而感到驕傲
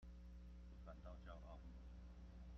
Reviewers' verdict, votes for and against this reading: rejected, 0, 2